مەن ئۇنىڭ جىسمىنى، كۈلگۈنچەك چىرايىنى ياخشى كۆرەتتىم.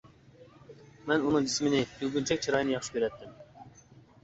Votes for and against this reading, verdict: 2, 1, accepted